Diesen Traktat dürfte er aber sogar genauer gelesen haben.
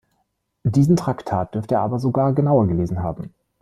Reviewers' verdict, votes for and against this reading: accepted, 2, 0